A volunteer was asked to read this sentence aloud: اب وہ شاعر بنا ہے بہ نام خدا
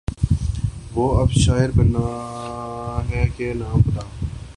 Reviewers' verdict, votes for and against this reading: rejected, 2, 2